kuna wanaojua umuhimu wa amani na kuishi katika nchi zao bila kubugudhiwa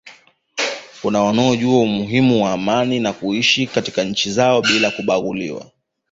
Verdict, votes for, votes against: accepted, 2, 0